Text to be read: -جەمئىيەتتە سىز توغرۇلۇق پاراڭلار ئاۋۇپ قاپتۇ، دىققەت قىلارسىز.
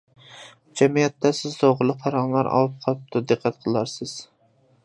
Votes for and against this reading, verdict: 2, 0, accepted